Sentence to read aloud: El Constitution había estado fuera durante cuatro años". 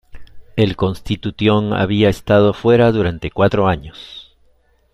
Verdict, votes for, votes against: rejected, 0, 2